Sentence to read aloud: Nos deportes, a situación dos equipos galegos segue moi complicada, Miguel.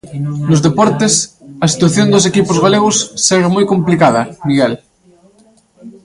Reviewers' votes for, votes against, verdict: 2, 0, accepted